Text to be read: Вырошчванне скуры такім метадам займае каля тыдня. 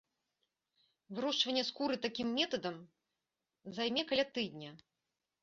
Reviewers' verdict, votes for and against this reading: rejected, 0, 3